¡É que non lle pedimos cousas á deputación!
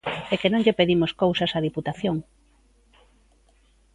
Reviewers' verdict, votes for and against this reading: accepted, 2, 0